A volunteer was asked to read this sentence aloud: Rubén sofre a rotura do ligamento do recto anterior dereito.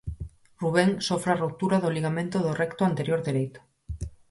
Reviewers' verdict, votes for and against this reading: accepted, 4, 0